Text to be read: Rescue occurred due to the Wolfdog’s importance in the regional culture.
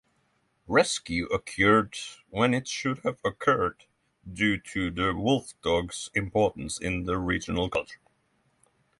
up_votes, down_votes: 0, 3